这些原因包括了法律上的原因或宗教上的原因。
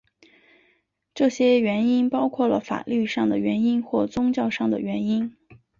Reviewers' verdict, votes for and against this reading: accepted, 4, 0